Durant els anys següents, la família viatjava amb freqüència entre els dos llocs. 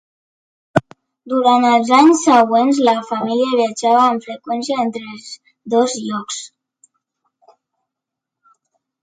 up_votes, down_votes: 2, 0